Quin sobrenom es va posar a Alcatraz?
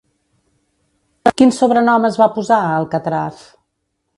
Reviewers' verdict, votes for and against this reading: rejected, 0, 2